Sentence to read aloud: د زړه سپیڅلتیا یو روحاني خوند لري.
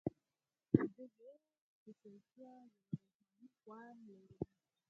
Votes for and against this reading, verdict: 0, 4, rejected